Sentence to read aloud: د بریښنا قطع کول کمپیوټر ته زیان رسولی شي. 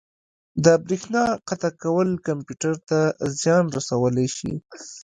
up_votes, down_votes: 1, 2